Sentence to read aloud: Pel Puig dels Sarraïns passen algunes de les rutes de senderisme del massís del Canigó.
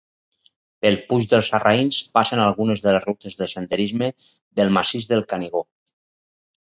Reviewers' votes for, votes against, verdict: 2, 0, accepted